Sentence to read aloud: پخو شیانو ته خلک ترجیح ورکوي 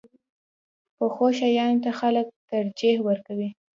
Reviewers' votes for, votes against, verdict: 2, 0, accepted